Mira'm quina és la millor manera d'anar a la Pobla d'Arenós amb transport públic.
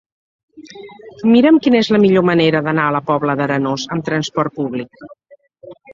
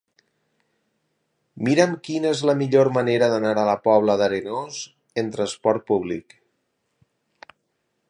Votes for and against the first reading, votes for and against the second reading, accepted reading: 2, 0, 0, 2, first